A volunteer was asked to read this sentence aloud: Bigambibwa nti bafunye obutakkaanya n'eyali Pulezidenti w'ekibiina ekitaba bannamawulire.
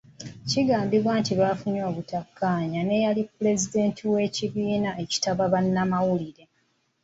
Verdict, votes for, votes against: rejected, 0, 2